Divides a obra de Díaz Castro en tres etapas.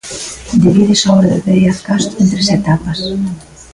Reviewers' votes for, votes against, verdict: 2, 0, accepted